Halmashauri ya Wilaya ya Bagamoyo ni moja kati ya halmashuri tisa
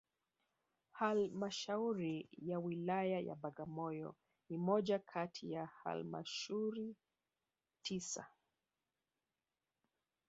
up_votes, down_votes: 1, 2